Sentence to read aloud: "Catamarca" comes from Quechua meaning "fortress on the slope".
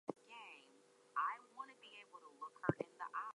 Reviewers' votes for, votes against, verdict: 0, 2, rejected